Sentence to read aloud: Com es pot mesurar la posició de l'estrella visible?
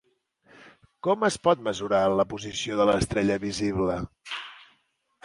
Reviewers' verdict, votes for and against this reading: accepted, 2, 0